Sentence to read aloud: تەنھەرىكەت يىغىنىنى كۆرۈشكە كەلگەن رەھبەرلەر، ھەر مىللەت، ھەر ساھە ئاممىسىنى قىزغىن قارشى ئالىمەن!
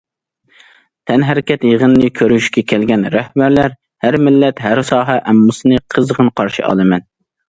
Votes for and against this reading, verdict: 2, 0, accepted